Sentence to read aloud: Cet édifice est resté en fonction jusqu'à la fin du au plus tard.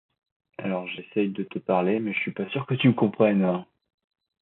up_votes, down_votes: 1, 2